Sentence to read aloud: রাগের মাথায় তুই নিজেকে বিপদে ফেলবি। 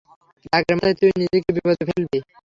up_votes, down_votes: 0, 3